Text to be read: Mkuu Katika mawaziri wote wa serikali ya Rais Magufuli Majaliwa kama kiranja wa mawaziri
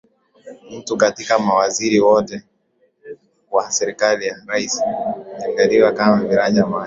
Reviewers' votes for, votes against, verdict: 4, 3, accepted